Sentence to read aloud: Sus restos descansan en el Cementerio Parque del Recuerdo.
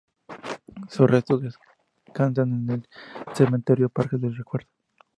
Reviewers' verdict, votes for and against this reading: rejected, 0, 2